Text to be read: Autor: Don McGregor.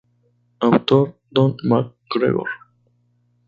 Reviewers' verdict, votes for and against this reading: rejected, 0, 2